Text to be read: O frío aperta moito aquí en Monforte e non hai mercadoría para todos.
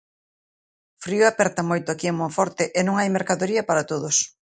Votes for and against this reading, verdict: 1, 2, rejected